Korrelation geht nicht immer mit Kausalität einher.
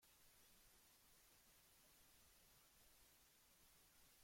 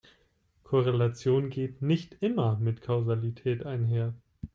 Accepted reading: second